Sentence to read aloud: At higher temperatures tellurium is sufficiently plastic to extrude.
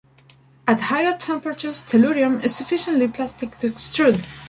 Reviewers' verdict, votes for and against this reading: accepted, 2, 1